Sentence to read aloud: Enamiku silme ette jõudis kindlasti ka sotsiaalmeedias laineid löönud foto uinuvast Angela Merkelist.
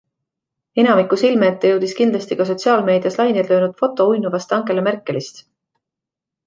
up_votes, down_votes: 2, 0